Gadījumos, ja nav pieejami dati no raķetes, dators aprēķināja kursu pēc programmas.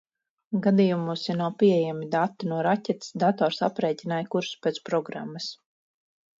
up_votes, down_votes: 4, 0